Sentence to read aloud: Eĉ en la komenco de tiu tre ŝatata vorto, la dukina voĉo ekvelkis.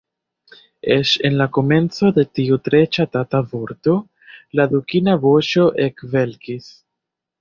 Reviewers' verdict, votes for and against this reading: accepted, 2, 1